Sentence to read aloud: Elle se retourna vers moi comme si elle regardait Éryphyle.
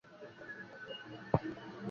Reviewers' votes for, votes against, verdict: 0, 2, rejected